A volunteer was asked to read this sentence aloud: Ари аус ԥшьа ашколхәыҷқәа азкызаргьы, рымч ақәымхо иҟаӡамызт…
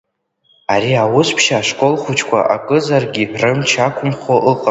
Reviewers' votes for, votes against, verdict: 1, 2, rejected